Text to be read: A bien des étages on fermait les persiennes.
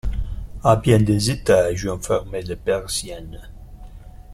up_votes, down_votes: 0, 2